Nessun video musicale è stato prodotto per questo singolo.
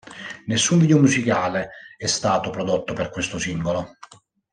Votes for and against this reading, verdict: 2, 1, accepted